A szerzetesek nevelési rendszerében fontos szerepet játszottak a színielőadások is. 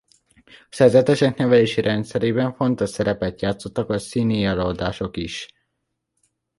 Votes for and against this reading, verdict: 2, 1, accepted